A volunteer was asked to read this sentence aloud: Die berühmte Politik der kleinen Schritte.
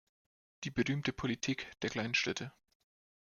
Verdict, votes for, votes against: accepted, 2, 0